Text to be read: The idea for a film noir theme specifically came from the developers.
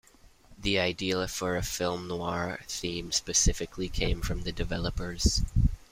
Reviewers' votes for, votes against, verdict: 0, 2, rejected